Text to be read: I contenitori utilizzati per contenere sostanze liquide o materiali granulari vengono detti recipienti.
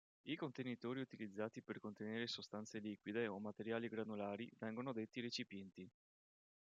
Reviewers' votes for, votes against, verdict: 2, 0, accepted